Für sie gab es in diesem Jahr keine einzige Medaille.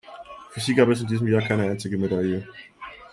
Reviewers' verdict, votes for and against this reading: rejected, 1, 2